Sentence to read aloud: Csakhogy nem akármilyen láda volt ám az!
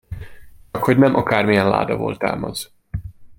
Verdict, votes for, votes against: rejected, 0, 2